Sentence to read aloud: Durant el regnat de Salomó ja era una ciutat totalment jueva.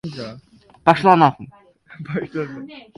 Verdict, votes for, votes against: rejected, 0, 2